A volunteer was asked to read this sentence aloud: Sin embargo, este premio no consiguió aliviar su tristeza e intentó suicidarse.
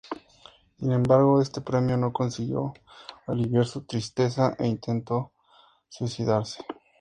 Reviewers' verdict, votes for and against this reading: accepted, 2, 0